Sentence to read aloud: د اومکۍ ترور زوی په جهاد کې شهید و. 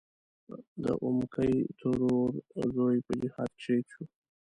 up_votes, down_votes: 3, 0